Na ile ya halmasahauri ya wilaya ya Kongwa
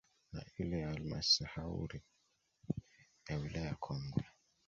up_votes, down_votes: 1, 2